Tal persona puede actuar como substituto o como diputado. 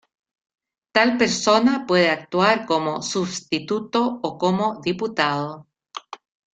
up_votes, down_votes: 2, 1